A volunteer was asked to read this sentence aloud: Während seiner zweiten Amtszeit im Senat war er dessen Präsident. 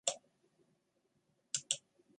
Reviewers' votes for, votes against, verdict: 0, 2, rejected